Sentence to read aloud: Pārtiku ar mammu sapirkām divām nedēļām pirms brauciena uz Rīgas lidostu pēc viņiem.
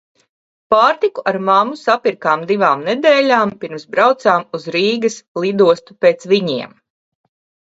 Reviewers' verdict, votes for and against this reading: rejected, 0, 2